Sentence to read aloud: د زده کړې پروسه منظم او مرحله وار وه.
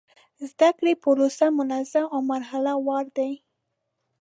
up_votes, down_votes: 0, 2